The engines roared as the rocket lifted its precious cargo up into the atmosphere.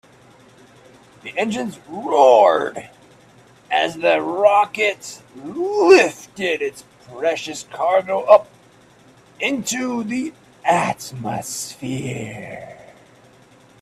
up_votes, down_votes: 1, 2